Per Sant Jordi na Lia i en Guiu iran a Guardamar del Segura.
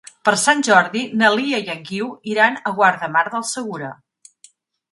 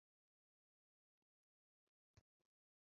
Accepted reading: first